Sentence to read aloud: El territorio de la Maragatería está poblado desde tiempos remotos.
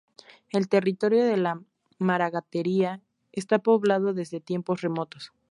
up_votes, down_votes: 2, 0